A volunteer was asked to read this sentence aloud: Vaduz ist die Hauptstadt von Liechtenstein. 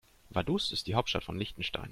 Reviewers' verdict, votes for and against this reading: accepted, 2, 0